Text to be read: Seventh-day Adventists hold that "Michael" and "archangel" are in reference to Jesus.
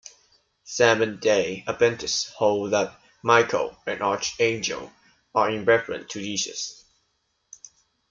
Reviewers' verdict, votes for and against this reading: rejected, 0, 2